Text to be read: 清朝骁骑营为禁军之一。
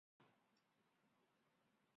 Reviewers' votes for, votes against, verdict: 1, 3, rejected